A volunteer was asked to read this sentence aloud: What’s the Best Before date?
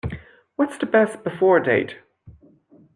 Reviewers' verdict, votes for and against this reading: accepted, 2, 0